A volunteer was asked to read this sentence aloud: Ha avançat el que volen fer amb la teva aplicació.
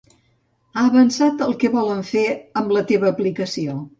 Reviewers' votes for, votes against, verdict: 2, 0, accepted